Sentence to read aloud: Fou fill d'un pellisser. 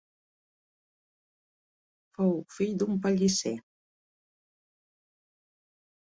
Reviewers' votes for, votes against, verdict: 0, 2, rejected